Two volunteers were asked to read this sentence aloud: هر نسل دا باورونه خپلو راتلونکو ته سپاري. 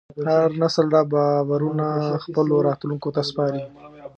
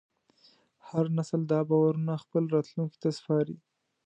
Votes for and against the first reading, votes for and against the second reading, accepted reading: 1, 2, 2, 0, second